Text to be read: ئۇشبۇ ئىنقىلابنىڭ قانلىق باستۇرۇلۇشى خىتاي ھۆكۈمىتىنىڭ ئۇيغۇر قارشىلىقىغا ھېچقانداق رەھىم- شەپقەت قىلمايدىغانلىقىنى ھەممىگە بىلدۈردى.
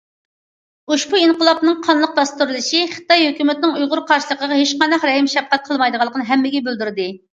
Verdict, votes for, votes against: accepted, 2, 0